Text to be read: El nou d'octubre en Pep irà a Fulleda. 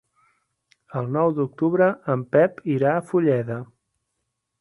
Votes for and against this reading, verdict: 6, 0, accepted